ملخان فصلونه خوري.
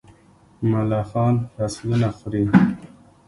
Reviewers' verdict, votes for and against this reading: accepted, 2, 0